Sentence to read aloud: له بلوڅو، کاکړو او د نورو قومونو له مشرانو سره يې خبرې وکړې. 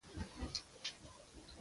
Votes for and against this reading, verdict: 0, 2, rejected